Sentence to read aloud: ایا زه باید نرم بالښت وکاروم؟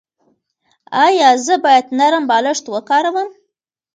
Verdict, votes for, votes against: accepted, 2, 0